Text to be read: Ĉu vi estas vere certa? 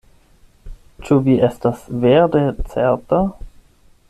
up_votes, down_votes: 4, 8